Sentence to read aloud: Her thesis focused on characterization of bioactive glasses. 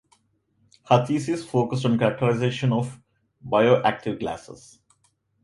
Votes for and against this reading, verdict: 2, 0, accepted